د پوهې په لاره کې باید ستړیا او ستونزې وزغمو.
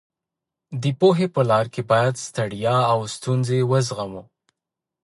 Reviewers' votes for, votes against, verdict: 1, 2, rejected